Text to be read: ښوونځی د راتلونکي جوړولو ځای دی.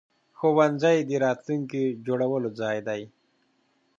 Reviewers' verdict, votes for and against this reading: accepted, 2, 0